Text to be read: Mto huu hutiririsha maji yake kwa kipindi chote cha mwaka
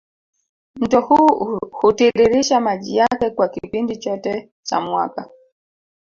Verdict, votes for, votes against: rejected, 1, 2